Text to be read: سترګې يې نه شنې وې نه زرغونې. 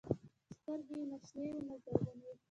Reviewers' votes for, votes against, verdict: 1, 2, rejected